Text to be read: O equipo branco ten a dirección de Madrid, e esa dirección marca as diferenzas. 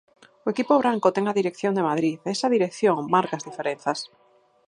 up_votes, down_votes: 4, 0